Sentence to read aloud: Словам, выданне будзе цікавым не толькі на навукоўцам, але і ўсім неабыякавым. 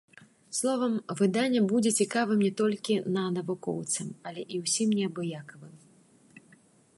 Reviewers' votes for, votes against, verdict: 1, 3, rejected